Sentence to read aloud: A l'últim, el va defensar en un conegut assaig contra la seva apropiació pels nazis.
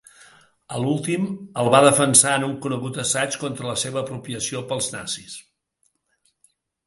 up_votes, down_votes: 2, 1